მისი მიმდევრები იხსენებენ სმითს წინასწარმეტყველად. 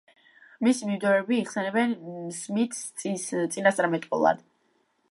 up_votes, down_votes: 0, 2